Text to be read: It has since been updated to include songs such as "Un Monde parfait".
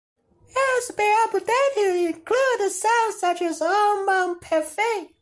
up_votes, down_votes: 0, 2